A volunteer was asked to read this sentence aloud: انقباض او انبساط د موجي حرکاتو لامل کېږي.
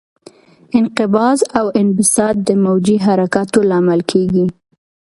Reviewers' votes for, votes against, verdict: 2, 0, accepted